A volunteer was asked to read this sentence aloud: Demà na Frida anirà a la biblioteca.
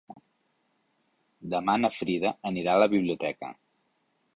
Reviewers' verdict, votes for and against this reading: accepted, 5, 0